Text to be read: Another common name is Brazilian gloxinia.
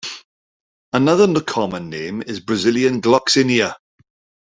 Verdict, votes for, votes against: rejected, 0, 2